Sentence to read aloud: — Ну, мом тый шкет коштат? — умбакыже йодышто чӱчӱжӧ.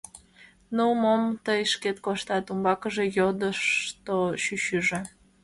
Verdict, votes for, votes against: accepted, 2, 1